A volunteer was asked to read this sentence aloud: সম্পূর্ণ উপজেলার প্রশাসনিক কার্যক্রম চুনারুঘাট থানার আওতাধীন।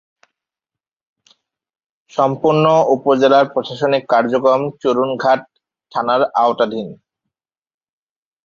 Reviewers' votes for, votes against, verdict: 9, 10, rejected